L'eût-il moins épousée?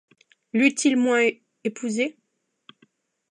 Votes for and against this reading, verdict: 0, 2, rejected